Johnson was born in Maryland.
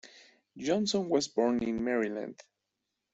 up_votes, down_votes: 2, 0